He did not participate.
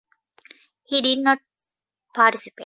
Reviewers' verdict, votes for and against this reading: accepted, 2, 1